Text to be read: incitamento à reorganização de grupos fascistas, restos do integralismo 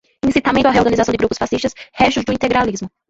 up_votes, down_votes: 1, 2